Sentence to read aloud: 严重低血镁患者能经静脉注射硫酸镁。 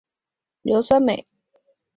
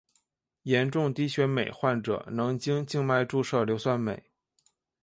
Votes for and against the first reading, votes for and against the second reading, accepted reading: 0, 2, 2, 0, second